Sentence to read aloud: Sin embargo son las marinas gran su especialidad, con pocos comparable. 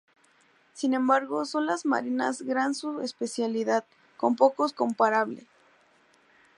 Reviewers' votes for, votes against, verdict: 2, 0, accepted